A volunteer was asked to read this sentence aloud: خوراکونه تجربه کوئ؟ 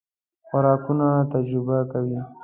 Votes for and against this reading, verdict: 2, 0, accepted